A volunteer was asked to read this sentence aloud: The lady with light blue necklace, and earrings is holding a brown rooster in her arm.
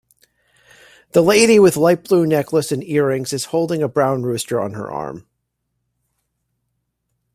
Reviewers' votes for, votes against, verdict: 2, 1, accepted